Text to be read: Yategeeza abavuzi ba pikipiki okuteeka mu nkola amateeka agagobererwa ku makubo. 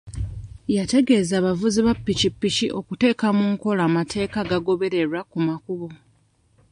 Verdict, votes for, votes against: accepted, 2, 0